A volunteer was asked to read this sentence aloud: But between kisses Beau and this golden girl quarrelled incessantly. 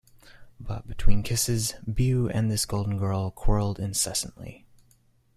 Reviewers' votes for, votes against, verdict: 0, 2, rejected